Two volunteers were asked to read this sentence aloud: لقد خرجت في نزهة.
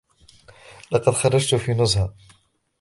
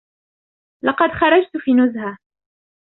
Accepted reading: first